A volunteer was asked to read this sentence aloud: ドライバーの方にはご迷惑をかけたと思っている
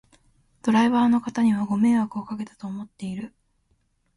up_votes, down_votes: 2, 0